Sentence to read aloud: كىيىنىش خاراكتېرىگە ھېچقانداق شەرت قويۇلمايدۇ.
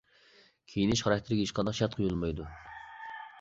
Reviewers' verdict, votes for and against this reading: rejected, 0, 2